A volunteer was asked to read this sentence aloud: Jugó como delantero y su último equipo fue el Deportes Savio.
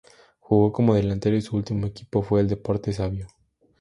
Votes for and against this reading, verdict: 4, 0, accepted